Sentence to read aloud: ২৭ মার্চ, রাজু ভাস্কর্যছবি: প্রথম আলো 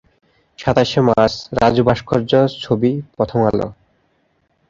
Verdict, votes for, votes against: rejected, 0, 2